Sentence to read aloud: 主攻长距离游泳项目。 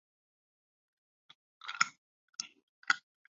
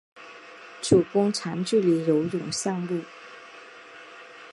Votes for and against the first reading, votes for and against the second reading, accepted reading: 1, 2, 2, 0, second